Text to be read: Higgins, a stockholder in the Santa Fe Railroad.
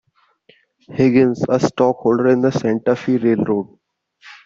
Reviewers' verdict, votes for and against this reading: accepted, 2, 0